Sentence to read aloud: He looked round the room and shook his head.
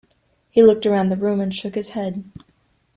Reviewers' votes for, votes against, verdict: 1, 2, rejected